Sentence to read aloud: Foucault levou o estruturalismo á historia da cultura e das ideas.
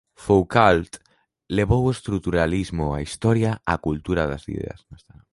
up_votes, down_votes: 1, 2